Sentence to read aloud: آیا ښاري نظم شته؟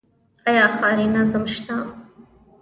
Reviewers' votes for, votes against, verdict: 1, 2, rejected